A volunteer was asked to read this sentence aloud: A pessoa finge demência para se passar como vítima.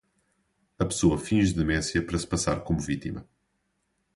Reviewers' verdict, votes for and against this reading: accepted, 4, 0